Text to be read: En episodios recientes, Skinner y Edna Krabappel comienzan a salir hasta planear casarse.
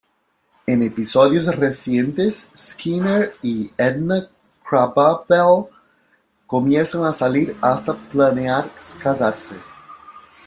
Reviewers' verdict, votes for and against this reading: rejected, 1, 2